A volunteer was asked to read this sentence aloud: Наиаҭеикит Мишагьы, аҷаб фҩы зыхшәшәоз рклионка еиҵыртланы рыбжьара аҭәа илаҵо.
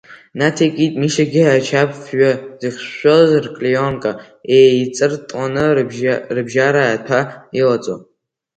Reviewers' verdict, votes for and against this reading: rejected, 2, 3